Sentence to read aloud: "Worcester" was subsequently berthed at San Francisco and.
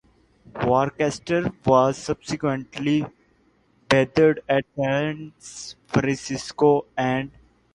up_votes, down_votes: 1, 2